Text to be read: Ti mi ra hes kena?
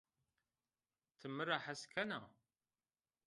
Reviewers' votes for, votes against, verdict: 1, 2, rejected